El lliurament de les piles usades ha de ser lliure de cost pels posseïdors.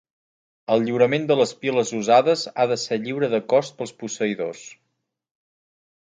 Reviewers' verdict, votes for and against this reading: accepted, 4, 0